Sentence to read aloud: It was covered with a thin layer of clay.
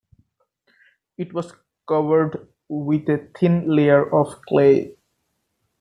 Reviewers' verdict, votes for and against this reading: accepted, 2, 0